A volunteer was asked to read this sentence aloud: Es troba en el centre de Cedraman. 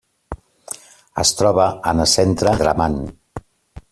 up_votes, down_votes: 0, 2